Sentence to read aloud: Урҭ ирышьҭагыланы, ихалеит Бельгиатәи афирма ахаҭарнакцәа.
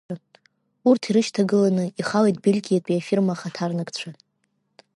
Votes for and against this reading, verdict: 2, 0, accepted